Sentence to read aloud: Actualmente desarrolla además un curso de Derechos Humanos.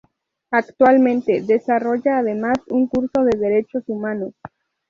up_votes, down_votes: 2, 2